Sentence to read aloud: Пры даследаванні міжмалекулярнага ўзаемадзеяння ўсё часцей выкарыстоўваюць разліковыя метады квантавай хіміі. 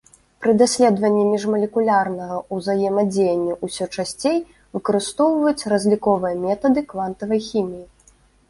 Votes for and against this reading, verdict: 2, 1, accepted